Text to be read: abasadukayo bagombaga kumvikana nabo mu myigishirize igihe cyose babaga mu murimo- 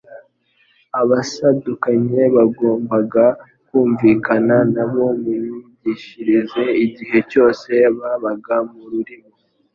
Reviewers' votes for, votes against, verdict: 1, 2, rejected